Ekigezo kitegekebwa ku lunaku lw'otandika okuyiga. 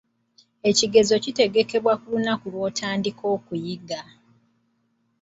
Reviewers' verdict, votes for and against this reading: accepted, 2, 0